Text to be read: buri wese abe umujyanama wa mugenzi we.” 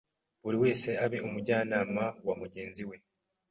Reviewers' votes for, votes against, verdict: 2, 0, accepted